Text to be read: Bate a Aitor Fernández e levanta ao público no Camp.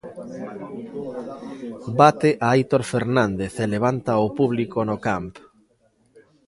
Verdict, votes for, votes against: rejected, 1, 2